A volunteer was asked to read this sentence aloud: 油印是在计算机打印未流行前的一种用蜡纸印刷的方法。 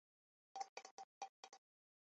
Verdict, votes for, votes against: rejected, 1, 4